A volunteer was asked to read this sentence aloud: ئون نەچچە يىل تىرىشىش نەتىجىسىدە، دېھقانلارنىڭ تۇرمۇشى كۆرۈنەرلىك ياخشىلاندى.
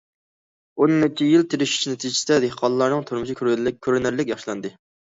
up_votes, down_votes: 0, 2